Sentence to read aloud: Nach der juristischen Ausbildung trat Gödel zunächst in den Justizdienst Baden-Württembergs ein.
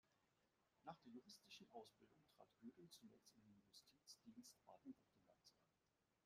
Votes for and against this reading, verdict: 0, 2, rejected